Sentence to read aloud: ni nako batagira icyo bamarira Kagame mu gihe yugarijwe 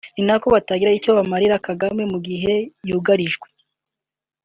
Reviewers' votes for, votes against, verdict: 2, 0, accepted